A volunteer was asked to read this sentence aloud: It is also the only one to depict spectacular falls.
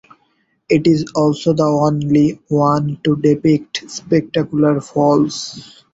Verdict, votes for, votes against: accepted, 2, 0